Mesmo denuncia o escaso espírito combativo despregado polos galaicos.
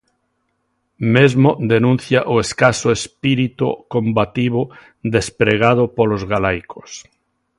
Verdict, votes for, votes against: accepted, 2, 0